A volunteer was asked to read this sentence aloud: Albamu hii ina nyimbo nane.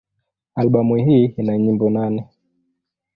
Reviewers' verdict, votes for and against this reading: accepted, 2, 0